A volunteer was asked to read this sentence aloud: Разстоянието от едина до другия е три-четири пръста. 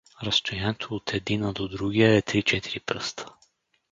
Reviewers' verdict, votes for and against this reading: rejected, 2, 2